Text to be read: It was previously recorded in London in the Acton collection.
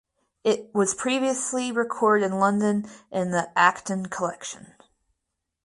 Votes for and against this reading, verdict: 2, 4, rejected